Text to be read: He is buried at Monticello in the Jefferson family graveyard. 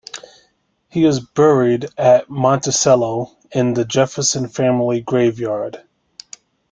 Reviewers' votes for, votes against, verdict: 2, 1, accepted